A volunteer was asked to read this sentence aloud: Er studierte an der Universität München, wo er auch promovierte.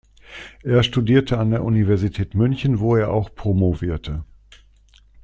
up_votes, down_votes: 2, 0